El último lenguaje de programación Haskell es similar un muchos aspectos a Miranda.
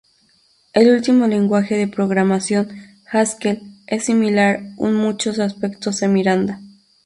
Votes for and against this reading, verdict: 0, 2, rejected